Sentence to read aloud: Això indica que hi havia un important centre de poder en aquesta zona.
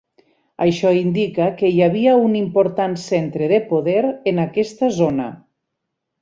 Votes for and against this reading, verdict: 6, 0, accepted